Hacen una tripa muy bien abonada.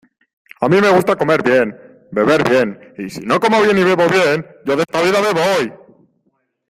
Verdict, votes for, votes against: rejected, 0, 2